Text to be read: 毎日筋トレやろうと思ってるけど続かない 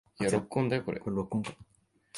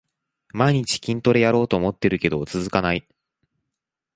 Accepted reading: second